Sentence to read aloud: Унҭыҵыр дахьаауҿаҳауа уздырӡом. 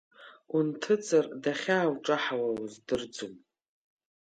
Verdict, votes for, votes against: accepted, 2, 0